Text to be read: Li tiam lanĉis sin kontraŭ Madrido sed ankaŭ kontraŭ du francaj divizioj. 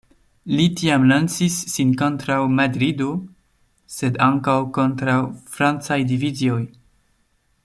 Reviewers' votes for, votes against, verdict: 0, 2, rejected